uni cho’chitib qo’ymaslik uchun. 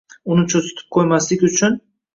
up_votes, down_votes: 1, 2